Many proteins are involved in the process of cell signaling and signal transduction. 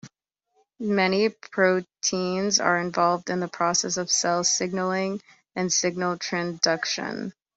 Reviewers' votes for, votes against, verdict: 1, 2, rejected